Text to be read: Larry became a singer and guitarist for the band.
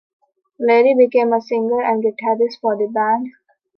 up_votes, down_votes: 2, 1